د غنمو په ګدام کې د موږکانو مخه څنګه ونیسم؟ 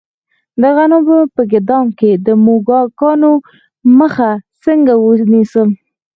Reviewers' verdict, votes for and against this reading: rejected, 0, 4